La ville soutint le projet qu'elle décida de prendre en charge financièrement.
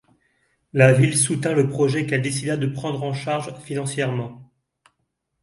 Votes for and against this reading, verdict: 2, 0, accepted